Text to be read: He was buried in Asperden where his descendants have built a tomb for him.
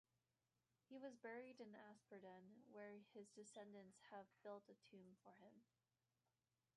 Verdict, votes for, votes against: accepted, 2, 1